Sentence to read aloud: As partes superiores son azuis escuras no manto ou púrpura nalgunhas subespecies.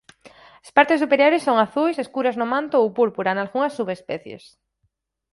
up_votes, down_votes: 4, 0